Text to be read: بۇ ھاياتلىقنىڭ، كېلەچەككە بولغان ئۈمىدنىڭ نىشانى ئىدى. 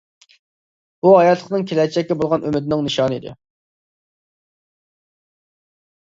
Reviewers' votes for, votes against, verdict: 2, 0, accepted